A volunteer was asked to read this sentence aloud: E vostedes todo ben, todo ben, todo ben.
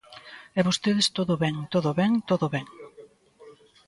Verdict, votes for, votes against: accepted, 2, 0